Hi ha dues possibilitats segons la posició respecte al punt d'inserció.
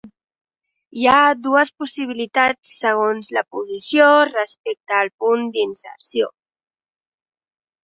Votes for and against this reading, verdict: 2, 0, accepted